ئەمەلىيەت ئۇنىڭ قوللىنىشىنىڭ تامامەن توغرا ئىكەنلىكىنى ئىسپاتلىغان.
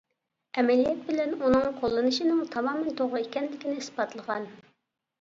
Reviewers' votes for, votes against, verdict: 0, 2, rejected